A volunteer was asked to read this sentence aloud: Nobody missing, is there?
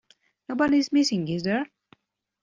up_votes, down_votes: 0, 2